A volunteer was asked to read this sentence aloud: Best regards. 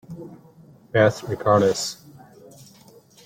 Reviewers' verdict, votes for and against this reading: rejected, 0, 2